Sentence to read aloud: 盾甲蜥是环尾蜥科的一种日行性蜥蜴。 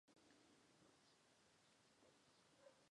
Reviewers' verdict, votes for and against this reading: rejected, 0, 2